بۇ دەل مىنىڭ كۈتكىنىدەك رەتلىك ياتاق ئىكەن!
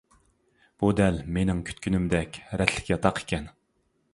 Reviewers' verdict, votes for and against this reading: accepted, 2, 1